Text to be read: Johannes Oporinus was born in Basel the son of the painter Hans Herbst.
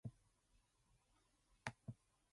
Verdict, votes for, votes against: rejected, 0, 2